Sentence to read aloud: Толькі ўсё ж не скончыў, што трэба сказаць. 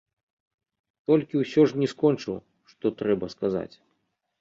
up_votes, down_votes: 2, 0